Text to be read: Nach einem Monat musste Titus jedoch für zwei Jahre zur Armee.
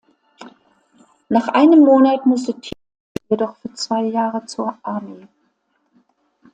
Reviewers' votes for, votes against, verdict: 0, 2, rejected